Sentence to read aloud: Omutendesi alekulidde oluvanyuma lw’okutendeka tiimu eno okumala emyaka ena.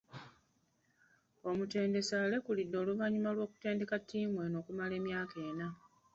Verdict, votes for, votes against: rejected, 1, 2